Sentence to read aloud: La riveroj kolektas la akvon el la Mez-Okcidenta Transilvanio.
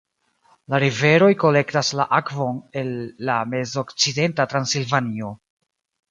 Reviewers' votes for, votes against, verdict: 2, 0, accepted